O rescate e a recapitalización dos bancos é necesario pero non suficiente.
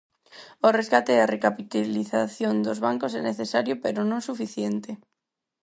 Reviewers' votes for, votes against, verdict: 2, 4, rejected